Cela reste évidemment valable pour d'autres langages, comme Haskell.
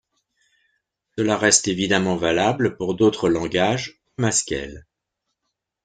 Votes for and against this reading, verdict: 1, 2, rejected